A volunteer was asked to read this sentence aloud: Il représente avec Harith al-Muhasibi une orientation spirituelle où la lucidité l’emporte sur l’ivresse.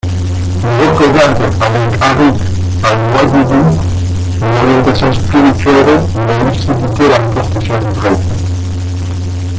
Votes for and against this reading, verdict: 0, 2, rejected